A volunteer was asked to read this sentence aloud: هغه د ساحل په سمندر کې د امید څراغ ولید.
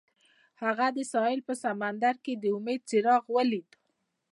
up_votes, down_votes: 2, 0